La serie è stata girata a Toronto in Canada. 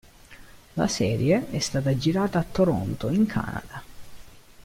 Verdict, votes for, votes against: rejected, 1, 2